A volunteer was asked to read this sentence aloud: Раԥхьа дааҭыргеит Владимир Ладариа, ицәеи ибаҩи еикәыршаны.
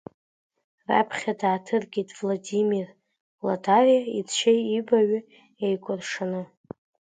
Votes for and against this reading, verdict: 1, 2, rejected